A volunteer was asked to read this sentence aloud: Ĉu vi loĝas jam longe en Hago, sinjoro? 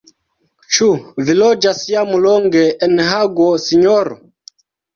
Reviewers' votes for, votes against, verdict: 1, 2, rejected